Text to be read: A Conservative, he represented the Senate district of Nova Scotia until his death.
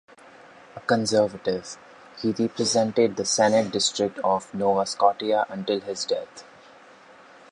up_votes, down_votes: 1, 2